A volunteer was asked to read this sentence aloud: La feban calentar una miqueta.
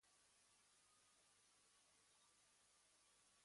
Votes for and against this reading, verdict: 1, 2, rejected